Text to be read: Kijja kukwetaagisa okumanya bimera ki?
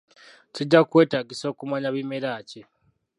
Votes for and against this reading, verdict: 0, 2, rejected